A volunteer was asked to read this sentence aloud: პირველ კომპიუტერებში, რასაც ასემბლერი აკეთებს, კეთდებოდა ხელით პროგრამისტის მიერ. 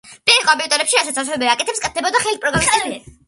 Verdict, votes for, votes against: rejected, 0, 2